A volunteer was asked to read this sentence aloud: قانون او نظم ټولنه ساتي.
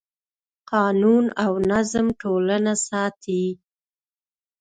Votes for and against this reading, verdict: 2, 0, accepted